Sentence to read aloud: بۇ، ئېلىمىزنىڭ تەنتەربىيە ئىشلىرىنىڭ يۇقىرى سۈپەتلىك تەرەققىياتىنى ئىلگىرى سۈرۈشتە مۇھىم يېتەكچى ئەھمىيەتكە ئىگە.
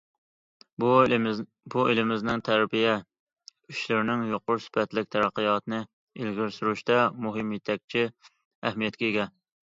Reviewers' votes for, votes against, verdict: 0, 2, rejected